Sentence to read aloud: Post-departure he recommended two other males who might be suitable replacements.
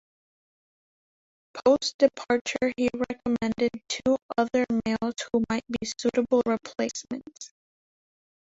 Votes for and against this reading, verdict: 0, 2, rejected